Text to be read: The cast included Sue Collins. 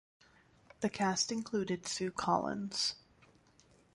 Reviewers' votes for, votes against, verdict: 2, 0, accepted